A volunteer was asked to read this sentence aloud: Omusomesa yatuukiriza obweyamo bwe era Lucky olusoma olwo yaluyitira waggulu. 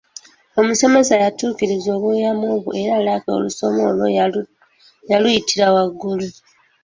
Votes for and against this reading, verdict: 0, 2, rejected